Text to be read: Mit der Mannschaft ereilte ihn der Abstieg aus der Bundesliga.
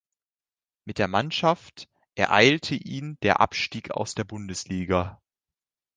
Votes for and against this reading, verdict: 2, 0, accepted